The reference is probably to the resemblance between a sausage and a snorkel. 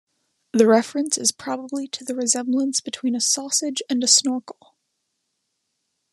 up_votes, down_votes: 2, 1